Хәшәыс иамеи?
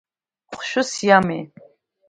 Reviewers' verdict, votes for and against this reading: accepted, 2, 1